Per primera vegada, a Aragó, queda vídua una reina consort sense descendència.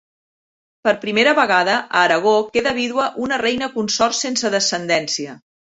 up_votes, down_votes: 2, 0